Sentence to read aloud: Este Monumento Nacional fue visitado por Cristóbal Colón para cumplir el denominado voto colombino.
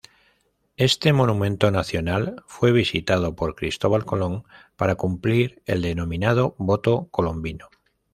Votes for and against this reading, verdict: 2, 0, accepted